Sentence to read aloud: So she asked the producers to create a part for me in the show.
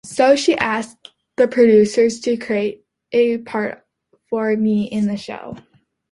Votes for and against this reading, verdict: 2, 1, accepted